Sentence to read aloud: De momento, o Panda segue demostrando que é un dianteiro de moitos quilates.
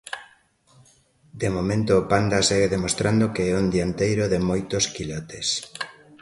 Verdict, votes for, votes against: accepted, 2, 0